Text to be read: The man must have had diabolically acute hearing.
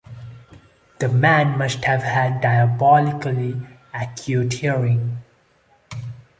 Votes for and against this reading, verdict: 2, 0, accepted